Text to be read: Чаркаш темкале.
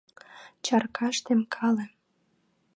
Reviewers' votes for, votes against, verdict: 2, 0, accepted